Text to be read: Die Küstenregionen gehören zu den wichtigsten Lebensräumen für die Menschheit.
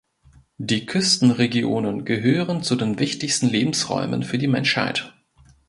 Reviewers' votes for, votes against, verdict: 2, 0, accepted